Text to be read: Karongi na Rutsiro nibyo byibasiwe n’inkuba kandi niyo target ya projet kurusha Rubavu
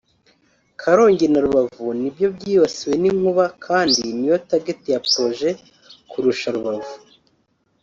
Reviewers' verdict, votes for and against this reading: rejected, 0, 3